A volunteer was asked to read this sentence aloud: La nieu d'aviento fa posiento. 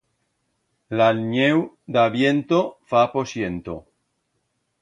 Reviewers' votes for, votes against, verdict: 2, 0, accepted